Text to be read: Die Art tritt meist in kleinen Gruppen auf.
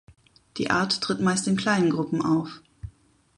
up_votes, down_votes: 2, 0